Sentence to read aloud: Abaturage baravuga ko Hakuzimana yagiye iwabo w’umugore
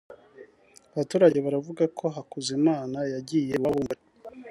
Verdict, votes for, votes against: rejected, 1, 2